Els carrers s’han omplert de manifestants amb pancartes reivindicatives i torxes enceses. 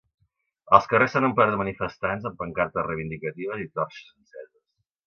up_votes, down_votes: 1, 2